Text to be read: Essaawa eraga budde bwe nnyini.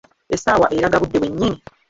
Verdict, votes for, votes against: rejected, 1, 2